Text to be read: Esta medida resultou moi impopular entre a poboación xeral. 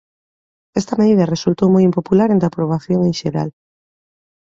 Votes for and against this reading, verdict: 0, 2, rejected